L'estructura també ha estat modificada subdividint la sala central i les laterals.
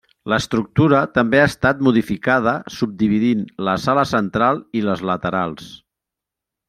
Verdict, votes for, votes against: accepted, 3, 0